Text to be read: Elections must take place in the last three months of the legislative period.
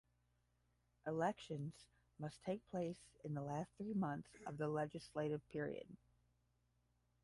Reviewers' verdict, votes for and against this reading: rejected, 5, 5